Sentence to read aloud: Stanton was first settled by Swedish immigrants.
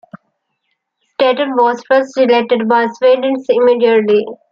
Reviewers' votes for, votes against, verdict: 0, 2, rejected